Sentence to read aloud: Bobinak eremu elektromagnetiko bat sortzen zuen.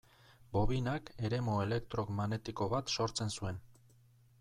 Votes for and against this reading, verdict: 2, 0, accepted